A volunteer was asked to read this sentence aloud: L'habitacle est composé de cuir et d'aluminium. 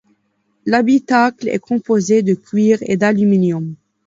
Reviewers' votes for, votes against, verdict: 2, 1, accepted